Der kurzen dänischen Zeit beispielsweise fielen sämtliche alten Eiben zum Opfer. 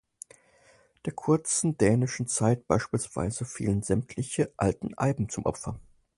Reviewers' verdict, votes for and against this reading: accepted, 4, 0